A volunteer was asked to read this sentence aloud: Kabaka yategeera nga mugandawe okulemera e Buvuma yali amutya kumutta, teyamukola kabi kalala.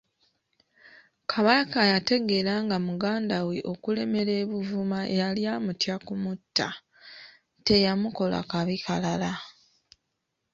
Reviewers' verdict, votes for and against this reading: accepted, 2, 0